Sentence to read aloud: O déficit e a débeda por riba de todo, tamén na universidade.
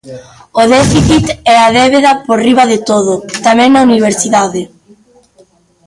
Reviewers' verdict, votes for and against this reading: rejected, 1, 2